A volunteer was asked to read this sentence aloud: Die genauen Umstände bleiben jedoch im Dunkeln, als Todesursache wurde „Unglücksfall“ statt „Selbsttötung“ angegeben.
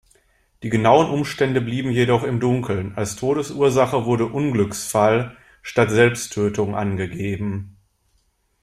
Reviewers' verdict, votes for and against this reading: accepted, 2, 1